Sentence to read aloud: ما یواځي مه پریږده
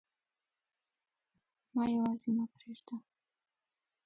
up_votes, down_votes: 1, 2